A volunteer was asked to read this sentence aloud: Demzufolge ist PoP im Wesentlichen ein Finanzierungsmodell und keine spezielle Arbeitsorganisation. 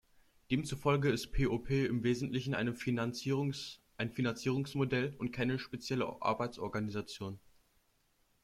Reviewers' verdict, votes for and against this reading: rejected, 0, 2